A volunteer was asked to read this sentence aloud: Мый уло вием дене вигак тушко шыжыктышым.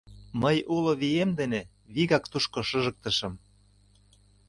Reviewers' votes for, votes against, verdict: 2, 0, accepted